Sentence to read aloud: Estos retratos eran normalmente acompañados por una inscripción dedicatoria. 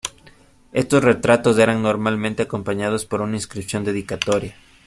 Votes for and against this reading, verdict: 2, 0, accepted